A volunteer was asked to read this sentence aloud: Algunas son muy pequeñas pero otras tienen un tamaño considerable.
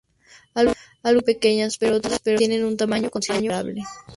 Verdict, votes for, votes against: rejected, 0, 2